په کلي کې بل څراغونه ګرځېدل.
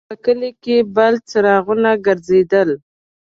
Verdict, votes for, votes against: accepted, 2, 1